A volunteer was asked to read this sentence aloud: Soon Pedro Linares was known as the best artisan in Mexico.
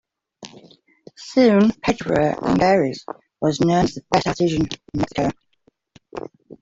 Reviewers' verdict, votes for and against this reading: rejected, 0, 2